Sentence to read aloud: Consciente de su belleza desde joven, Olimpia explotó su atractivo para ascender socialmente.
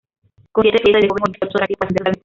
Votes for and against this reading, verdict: 0, 2, rejected